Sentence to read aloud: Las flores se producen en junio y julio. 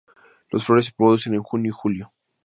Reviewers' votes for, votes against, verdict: 2, 0, accepted